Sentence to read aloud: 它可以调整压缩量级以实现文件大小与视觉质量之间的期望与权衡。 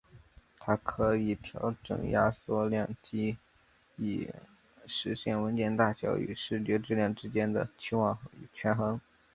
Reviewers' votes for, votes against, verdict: 0, 2, rejected